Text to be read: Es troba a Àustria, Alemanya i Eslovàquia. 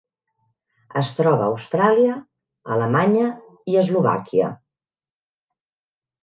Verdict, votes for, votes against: rejected, 0, 2